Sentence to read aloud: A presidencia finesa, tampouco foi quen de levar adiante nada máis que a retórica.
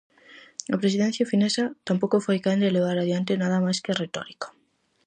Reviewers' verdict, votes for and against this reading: accepted, 4, 0